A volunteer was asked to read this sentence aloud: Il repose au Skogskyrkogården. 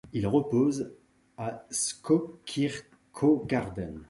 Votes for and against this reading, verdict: 1, 2, rejected